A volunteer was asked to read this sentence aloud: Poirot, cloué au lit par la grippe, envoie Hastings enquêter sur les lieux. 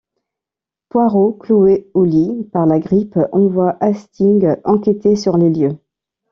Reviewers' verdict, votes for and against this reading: rejected, 1, 2